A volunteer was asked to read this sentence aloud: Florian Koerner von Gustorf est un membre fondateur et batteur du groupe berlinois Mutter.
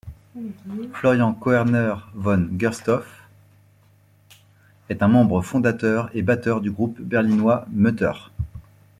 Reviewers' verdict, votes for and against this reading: rejected, 0, 2